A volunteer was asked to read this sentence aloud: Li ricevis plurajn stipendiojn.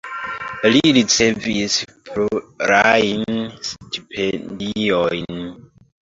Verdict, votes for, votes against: accepted, 2, 0